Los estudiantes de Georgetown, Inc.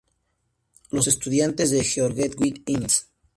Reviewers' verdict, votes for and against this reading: rejected, 0, 2